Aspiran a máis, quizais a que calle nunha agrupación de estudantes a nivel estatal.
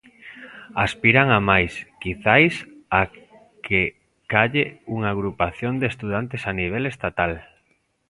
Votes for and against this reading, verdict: 0, 2, rejected